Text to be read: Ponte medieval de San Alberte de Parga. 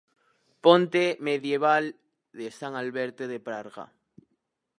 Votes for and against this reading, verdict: 2, 4, rejected